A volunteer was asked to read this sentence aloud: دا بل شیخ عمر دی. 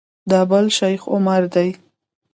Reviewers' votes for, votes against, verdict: 1, 2, rejected